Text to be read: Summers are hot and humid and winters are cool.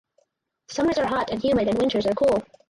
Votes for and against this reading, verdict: 2, 2, rejected